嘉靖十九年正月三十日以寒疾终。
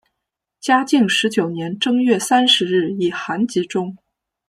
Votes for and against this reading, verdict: 2, 0, accepted